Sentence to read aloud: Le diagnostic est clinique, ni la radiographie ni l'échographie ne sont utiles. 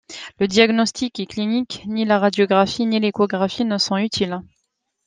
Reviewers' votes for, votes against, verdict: 2, 0, accepted